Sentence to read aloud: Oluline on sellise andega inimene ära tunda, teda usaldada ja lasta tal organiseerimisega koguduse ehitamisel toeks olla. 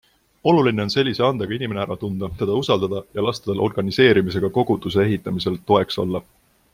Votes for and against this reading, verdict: 2, 0, accepted